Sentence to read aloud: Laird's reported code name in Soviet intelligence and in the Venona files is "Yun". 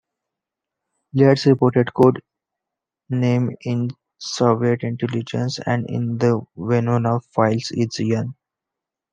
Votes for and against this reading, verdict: 1, 2, rejected